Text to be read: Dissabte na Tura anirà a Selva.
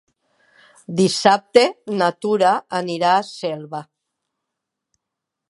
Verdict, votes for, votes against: accepted, 3, 0